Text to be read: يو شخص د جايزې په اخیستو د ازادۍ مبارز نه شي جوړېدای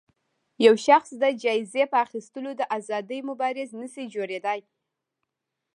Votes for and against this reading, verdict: 0, 2, rejected